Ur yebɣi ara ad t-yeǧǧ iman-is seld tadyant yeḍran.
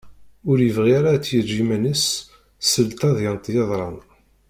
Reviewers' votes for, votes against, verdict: 1, 2, rejected